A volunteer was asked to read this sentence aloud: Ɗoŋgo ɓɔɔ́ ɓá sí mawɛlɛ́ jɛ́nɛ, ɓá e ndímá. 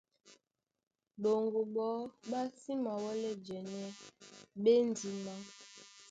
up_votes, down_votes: 0, 2